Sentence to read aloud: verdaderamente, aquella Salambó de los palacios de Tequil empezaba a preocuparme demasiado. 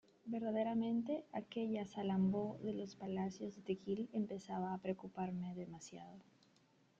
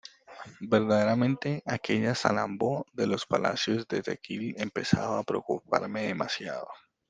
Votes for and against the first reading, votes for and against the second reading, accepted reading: 0, 2, 2, 0, second